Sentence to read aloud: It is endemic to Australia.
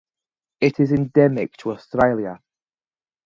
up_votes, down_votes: 2, 0